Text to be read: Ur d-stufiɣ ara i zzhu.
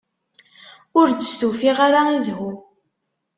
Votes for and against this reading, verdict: 2, 0, accepted